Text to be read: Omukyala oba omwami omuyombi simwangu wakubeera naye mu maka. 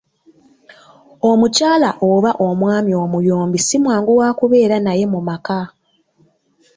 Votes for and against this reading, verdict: 2, 0, accepted